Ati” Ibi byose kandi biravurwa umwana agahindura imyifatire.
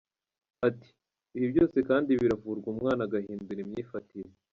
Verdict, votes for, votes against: accepted, 2, 0